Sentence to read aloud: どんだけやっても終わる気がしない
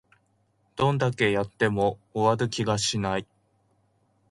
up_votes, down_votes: 1, 2